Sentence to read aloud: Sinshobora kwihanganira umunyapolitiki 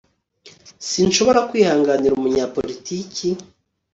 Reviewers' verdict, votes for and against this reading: accepted, 2, 0